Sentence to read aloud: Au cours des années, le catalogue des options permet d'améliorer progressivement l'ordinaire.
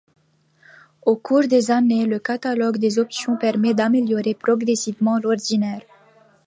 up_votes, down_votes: 2, 0